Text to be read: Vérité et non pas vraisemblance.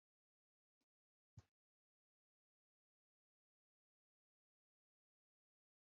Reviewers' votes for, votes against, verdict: 0, 3, rejected